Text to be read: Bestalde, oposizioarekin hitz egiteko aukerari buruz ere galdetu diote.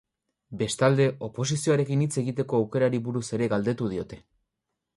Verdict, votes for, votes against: rejected, 0, 2